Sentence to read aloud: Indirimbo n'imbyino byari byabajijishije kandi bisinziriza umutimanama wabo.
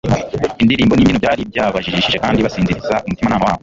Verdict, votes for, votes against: rejected, 1, 2